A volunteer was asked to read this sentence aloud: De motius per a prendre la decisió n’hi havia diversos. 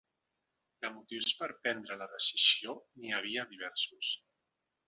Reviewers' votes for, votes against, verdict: 2, 0, accepted